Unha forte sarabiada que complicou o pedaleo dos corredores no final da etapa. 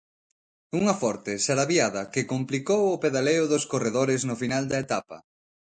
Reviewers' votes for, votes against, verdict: 2, 0, accepted